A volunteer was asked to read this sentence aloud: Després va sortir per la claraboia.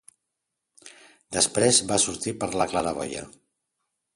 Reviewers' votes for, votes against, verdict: 2, 0, accepted